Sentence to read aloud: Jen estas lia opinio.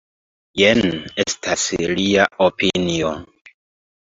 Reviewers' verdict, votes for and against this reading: accepted, 2, 1